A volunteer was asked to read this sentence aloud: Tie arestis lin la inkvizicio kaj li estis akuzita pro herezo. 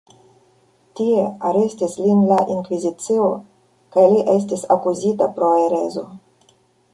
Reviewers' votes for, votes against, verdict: 2, 0, accepted